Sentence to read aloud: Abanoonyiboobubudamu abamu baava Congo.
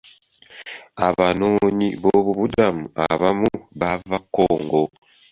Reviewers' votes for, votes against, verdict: 2, 0, accepted